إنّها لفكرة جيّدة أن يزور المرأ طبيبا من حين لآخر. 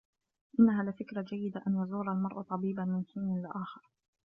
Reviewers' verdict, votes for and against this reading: accepted, 2, 0